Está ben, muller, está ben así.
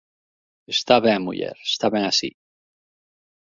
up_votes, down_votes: 2, 1